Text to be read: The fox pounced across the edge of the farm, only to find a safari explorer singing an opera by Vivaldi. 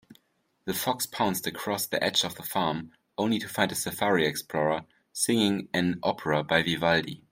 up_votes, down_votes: 2, 0